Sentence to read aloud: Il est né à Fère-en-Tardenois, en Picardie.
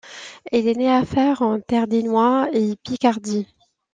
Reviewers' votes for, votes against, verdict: 1, 2, rejected